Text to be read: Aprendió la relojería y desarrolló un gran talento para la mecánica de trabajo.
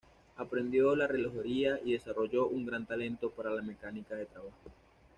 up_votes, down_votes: 2, 0